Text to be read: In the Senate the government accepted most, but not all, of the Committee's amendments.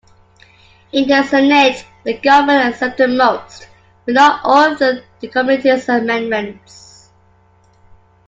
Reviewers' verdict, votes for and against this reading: rejected, 0, 2